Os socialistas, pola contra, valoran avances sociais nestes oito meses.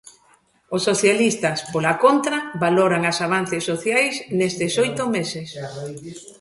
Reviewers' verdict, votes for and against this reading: rejected, 0, 2